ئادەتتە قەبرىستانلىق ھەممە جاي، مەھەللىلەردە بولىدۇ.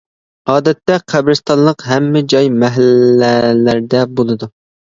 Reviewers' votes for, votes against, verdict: 1, 2, rejected